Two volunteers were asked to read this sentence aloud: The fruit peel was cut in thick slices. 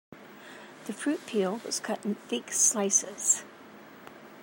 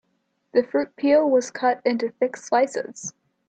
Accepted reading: first